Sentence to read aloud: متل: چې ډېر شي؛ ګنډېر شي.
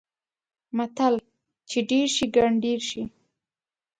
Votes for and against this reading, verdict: 2, 0, accepted